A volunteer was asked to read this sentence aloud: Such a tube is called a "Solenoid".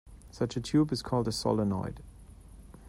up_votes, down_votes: 2, 0